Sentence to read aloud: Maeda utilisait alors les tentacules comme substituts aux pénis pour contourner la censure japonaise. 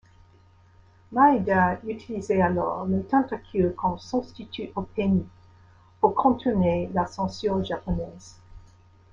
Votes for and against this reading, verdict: 1, 2, rejected